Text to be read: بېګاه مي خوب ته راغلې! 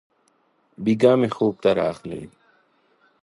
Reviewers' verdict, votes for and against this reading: accepted, 2, 0